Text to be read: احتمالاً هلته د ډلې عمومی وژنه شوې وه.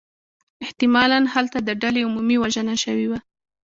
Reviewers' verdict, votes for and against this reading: rejected, 0, 2